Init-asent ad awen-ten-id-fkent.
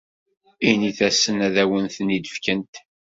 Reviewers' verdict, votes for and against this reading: accepted, 2, 0